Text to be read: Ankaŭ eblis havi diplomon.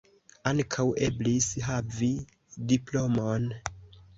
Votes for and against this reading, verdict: 2, 0, accepted